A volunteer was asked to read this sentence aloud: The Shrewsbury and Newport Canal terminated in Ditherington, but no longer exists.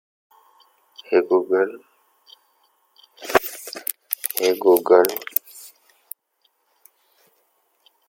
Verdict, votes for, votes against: rejected, 0, 2